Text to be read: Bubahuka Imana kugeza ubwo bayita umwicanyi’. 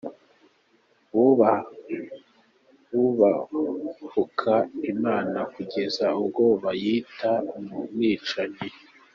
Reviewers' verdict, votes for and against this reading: rejected, 0, 2